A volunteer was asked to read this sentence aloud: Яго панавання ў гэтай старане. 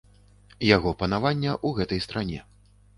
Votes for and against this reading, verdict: 1, 2, rejected